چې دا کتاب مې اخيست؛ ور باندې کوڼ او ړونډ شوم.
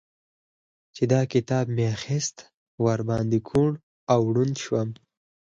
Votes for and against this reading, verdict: 4, 0, accepted